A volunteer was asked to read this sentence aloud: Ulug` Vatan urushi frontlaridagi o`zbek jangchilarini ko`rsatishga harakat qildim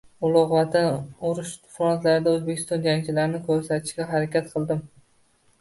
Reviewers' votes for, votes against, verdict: 1, 2, rejected